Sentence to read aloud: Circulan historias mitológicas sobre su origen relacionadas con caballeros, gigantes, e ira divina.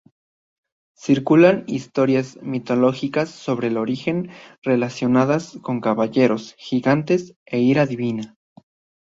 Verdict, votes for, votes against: rejected, 1, 2